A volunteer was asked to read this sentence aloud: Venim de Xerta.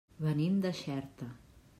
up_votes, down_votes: 3, 0